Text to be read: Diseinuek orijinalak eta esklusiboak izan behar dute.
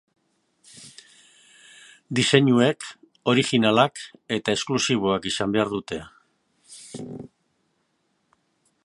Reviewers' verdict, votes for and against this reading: rejected, 1, 2